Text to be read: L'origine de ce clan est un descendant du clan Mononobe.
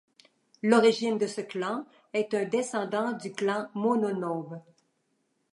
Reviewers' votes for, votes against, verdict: 2, 0, accepted